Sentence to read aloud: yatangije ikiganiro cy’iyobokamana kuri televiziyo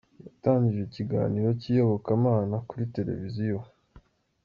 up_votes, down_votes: 2, 1